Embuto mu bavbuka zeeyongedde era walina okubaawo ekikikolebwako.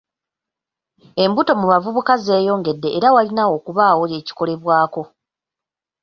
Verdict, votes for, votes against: rejected, 1, 2